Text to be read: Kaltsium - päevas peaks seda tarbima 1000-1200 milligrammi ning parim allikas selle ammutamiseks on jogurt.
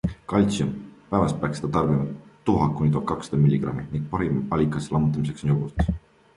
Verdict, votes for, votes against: rejected, 0, 2